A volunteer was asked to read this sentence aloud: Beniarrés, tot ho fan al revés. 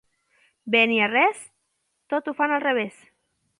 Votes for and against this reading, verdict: 2, 0, accepted